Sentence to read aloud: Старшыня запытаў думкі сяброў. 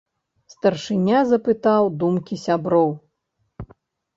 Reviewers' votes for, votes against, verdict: 3, 0, accepted